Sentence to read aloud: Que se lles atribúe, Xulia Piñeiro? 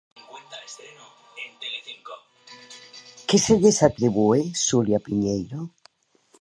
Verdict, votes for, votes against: rejected, 1, 2